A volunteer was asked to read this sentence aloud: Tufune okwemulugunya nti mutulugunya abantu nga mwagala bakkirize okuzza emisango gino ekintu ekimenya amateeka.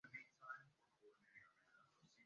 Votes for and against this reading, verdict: 0, 3, rejected